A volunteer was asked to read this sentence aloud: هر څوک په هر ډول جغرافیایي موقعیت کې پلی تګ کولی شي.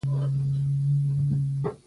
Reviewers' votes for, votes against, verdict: 0, 2, rejected